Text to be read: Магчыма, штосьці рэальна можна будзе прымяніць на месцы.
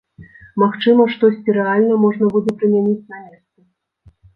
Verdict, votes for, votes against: rejected, 0, 2